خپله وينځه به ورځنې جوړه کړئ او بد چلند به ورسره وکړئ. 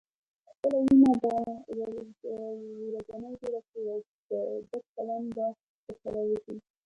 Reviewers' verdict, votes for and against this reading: rejected, 0, 2